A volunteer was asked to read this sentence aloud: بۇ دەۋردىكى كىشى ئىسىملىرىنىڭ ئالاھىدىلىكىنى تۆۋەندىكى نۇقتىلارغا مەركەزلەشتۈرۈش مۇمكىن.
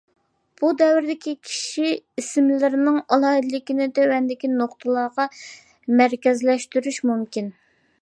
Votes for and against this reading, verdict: 2, 0, accepted